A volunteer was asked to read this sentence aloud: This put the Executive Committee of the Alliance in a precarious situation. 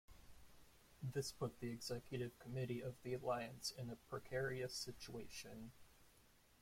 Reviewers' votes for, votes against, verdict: 1, 2, rejected